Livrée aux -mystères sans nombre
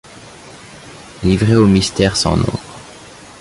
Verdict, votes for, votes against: rejected, 1, 2